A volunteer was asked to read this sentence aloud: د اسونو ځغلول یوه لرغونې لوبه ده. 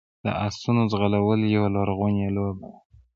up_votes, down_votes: 1, 2